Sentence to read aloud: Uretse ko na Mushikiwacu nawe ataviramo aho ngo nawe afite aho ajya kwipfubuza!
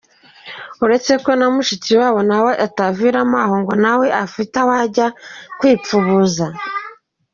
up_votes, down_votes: 2, 0